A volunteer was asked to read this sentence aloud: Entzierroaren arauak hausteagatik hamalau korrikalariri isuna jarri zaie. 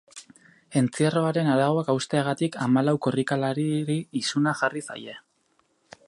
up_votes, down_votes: 0, 2